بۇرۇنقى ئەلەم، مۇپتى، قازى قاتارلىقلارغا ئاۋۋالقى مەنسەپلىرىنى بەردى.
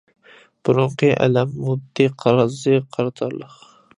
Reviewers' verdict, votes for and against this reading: rejected, 0, 2